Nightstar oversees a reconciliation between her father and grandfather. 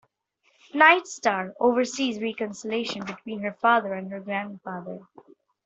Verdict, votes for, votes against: rejected, 1, 2